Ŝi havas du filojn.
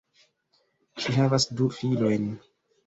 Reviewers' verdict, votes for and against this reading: accepted, 2, 1